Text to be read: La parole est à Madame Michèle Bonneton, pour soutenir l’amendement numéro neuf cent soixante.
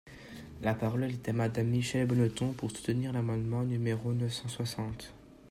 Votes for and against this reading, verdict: 2, 0, accepted